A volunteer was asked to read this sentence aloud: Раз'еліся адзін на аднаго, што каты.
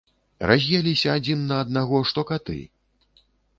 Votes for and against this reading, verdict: 2, 0, accepted